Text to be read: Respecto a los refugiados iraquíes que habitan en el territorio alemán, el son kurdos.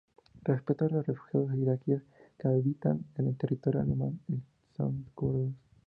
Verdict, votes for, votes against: accepted, 2, 0